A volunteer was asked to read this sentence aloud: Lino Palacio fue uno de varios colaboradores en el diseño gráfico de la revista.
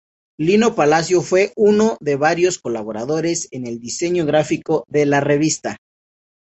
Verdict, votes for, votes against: accepted, 2, 0